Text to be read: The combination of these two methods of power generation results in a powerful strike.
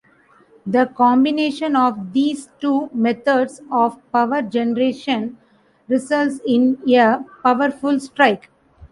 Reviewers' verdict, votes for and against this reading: rejected, 1, 2